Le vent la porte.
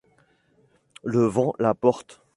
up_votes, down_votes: 2, 0